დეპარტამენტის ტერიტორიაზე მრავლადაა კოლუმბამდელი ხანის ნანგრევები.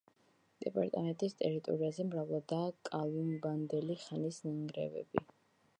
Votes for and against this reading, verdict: 0, 2, rejected